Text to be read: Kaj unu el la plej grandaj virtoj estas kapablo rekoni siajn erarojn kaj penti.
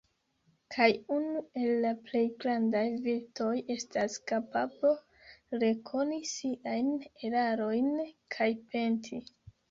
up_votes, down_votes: 2, 1